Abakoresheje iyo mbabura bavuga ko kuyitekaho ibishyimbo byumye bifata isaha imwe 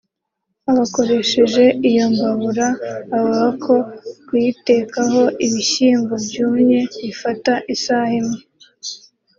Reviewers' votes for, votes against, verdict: 2, 1, accepted